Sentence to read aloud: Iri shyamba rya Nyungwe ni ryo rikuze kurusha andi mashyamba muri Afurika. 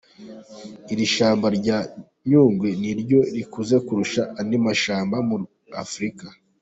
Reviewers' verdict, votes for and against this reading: accepted, 2, 1